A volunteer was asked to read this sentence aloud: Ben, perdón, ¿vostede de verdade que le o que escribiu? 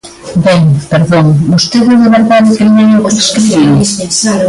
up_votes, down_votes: 1, 2